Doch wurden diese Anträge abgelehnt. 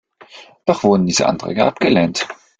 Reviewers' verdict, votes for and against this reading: accepted, 2, 0